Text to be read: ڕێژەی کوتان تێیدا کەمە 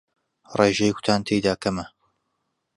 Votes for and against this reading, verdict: 2, 0, accepted